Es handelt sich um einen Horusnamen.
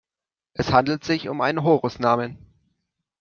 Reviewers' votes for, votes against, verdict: 2, 0, accepted